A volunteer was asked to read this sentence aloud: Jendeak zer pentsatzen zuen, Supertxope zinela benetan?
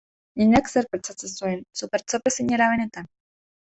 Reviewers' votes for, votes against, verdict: 2, 1, accepted